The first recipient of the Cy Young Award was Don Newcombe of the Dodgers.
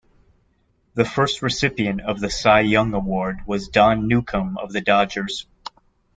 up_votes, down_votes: 2, 1